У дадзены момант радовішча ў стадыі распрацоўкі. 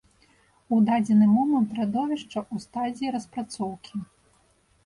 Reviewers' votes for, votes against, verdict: 0, 2, rejected